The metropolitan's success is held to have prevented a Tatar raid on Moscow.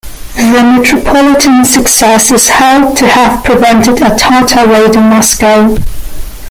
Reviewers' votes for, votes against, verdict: 1, 2, rejected